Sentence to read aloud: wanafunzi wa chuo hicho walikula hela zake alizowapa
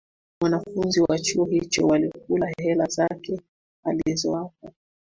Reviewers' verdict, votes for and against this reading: accepted, 2, 1